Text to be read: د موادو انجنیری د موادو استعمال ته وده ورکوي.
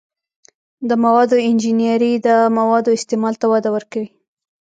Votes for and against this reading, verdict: 2, 0, accepted